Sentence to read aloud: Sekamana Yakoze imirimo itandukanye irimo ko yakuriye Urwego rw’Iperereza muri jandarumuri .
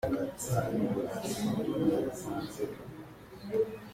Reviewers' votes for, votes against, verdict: 0, 2, rejected